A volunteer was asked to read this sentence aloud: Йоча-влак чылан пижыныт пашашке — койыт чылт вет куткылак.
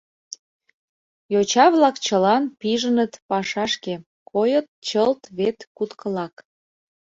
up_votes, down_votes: 2, 0